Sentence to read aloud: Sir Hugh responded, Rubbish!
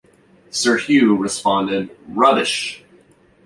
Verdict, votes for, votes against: accepted, 3, 0